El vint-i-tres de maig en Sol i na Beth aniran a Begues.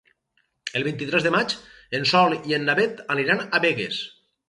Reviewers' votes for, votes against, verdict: 0, 2, rejected